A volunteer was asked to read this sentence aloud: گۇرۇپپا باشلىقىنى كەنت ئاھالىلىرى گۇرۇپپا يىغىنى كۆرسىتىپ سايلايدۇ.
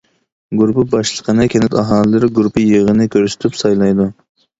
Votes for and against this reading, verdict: 2, 0, accepted